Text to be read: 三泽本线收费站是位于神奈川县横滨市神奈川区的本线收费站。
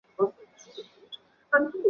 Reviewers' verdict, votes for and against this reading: rejected, 1, 3